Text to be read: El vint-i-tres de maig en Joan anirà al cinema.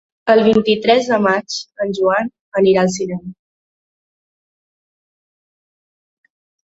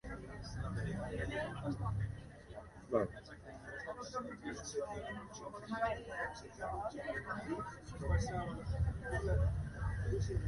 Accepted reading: first